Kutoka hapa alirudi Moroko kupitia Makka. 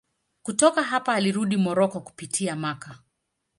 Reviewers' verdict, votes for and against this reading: accepted, 2, 1